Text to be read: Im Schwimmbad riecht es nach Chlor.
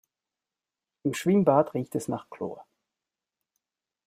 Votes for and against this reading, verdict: 1, 2, rejected